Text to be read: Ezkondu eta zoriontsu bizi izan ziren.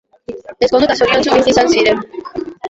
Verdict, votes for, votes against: rejected, 1, 2